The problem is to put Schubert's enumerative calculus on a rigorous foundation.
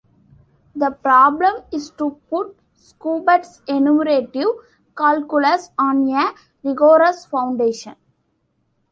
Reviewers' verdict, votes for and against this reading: accepted, 2, 1